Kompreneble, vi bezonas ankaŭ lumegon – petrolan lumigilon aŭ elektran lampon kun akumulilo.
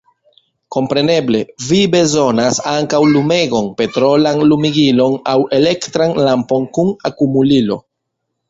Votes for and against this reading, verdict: 1, 2, rejected